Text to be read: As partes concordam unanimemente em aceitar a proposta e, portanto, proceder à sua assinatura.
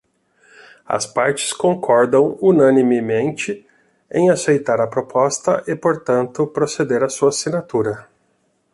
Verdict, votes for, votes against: accepted, 2, 0